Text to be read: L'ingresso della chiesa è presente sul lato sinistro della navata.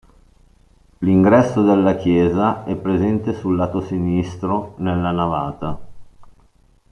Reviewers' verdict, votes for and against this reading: rejected, 0, 2